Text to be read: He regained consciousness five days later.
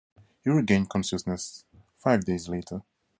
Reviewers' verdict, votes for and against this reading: accepted, 4, 0